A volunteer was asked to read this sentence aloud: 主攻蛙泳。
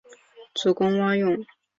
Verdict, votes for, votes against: accepted, 4, 0